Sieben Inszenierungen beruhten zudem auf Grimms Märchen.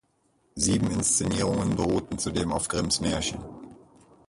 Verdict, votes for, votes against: rejected, 2, 4